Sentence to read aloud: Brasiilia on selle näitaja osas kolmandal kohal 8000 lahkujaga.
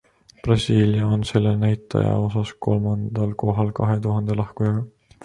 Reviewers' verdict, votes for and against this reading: rejected, 0, 2